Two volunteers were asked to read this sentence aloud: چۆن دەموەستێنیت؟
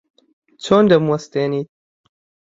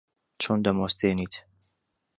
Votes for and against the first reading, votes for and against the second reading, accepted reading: 0, 2, 2, 0, second